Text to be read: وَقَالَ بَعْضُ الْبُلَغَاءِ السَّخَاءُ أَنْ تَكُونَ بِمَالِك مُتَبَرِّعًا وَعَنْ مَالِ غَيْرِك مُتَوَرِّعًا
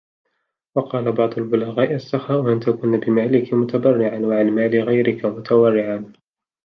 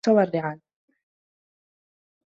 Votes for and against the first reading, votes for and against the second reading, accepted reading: 2, 0, 0, 2, first